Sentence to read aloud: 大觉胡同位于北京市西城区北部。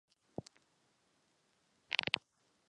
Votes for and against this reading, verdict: 1, 5, rejected